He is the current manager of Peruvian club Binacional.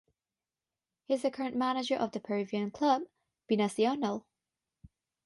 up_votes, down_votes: 0, 6